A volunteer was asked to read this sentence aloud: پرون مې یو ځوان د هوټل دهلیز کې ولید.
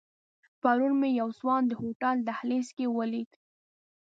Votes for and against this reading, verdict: 2, 0, accepted